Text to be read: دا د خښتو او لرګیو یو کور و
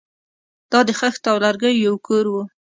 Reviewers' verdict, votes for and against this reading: accepted, 2, 0